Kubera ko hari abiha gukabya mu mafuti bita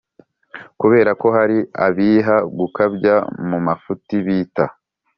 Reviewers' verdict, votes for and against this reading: accepted, 4, 0